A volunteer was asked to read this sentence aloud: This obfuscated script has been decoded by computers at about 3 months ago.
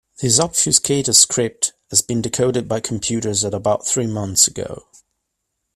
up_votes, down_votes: 0, 2